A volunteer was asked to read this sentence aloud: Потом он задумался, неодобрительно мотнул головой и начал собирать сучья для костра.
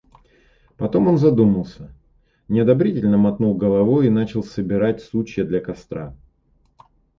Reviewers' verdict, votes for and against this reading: accepted, 2, 1